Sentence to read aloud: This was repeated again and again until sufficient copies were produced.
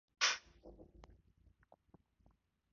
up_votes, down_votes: 0, 2